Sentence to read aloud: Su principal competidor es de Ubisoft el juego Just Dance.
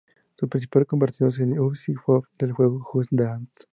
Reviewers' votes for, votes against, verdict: 0, 2, rejected